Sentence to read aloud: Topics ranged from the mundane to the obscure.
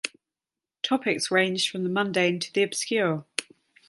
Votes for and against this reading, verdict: 2, 0, accepted